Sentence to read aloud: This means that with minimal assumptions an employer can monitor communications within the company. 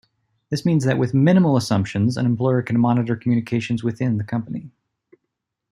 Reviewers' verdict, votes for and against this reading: accepted, 2, 0